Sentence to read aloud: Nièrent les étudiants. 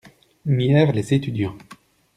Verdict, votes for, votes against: accepted, 2, 0